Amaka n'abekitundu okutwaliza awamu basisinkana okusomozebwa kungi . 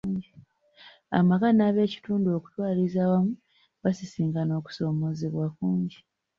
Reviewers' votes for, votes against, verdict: 1, 2, rejected